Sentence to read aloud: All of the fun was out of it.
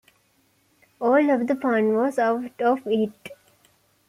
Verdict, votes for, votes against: accepted, 2, 0